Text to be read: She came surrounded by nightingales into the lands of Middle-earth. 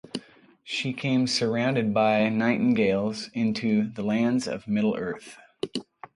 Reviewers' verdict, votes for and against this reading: accepted, 3, 0